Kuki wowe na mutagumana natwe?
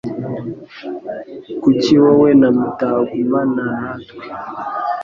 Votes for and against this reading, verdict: 2, 0, accepted